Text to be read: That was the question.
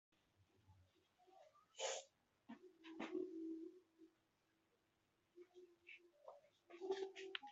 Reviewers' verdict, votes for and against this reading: rejected, 0, 2